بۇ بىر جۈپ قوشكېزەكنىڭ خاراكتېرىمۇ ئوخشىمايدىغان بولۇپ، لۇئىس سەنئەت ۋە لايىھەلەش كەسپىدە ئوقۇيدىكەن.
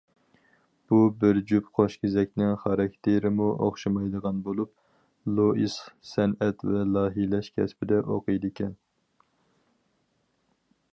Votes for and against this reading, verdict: 2, 4, rejected